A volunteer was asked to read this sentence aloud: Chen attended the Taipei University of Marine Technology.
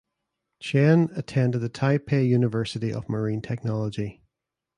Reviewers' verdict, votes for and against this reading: accepted, 2, 0